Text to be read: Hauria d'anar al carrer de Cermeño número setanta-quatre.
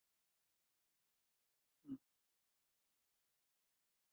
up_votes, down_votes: 0, 2